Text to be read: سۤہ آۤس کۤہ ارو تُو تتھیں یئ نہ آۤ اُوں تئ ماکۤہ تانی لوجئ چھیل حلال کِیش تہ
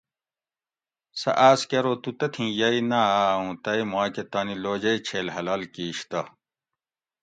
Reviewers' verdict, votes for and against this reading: accepted, 2, 0